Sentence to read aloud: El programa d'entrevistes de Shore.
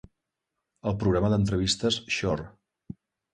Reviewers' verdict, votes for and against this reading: rejected, 1, 2